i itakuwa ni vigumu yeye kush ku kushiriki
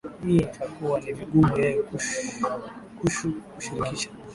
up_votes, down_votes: 2, 4